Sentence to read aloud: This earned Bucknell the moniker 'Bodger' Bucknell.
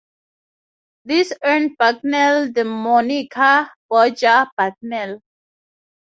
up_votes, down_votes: 2, 0